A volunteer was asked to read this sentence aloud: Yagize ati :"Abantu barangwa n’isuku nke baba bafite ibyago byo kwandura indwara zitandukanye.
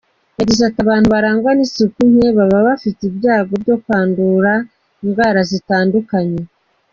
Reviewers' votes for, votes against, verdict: 2, 0, accepted